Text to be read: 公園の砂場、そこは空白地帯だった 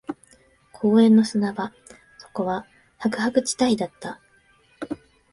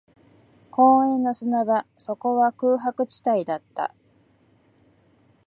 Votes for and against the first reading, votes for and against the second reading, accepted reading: 0, 2, 2, 0, second